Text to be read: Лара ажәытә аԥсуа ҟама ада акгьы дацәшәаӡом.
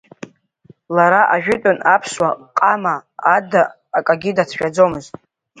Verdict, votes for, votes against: rejected, 1, 3